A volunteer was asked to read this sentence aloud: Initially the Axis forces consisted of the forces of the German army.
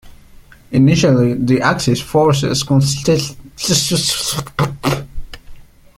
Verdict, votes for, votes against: rejected, 0, 2